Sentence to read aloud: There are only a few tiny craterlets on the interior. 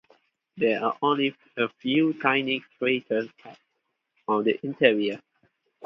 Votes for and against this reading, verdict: 0, 4, rejected